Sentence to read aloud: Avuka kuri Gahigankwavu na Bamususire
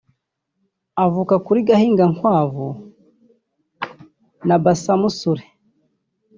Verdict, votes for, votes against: rejected, 1, 3